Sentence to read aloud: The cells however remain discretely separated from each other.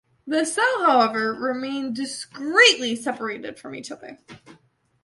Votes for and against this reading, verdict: 1, 2, rejected